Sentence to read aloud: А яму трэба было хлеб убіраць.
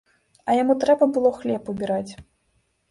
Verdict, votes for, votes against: accepted, 2, 0